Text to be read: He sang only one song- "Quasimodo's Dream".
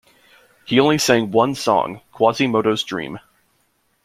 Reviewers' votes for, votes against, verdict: 0, 2, rejected